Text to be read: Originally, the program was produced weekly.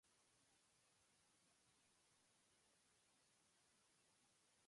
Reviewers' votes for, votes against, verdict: 0, 2, rejected